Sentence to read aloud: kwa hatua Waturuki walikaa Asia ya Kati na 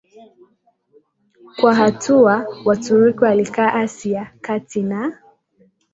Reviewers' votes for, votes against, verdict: 2, 1, accepted